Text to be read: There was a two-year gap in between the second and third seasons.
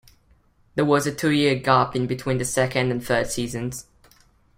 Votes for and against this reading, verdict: 2, 0, accepted